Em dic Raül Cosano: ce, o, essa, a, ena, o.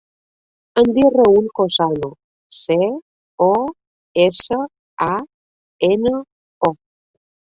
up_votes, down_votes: 2, 0